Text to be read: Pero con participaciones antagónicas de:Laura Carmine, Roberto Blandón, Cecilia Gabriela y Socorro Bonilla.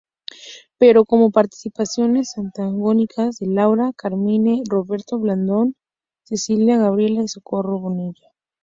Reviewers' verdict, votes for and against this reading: rejected, 2, 4